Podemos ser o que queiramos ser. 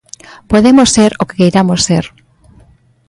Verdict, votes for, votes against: accepted, 2, 0